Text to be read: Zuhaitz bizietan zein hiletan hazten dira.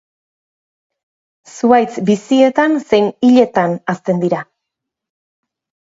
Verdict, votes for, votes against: rejected, 2, 2